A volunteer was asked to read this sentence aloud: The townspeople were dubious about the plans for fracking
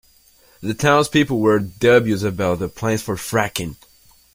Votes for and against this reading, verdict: 0, 2, rejected